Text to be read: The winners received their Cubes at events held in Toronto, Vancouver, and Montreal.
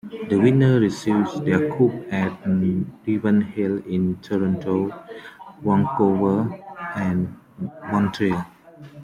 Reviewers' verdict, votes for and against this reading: accepted, 2, 0